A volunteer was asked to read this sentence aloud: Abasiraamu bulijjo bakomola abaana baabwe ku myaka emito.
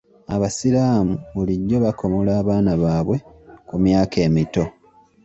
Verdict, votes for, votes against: accepted, 2, 0